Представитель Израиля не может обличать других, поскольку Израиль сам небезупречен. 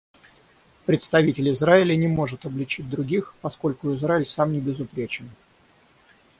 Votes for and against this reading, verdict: 3, 3, rejected